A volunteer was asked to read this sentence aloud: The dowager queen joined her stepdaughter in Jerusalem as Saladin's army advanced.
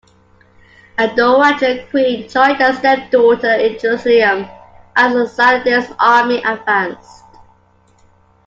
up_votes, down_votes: 2, 1